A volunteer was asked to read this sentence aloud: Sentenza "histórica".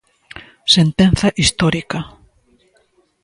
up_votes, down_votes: 1, 2